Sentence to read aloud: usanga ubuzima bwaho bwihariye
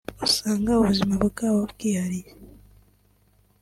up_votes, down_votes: 2, 0